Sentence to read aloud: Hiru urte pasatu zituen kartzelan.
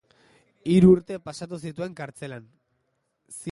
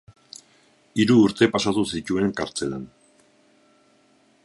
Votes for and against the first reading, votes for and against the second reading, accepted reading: 1, 2, 4, 0, second